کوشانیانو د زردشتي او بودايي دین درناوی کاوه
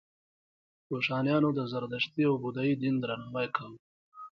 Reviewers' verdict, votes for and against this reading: accepted, 2, 0